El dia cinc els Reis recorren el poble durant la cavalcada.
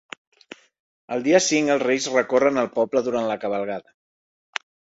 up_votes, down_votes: 0, 2